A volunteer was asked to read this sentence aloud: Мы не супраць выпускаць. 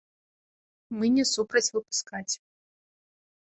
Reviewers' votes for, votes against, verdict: 2, 0, accepted